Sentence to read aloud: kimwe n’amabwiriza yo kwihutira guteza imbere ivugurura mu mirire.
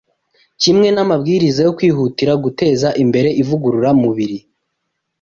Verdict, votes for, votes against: rejected, 0, 2